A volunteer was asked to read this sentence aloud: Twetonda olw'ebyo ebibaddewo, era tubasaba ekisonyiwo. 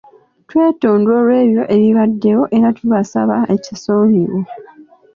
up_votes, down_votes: 2, 0